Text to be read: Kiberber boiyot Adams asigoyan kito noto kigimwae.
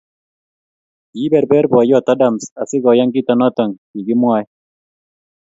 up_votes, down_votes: 2, 0